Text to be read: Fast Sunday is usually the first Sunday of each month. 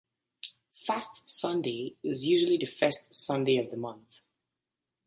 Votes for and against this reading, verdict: 0, 2, rejected